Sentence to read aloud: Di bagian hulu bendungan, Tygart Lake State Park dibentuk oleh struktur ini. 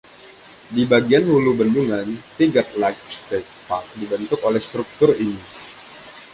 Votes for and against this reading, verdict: 1, 2, rejected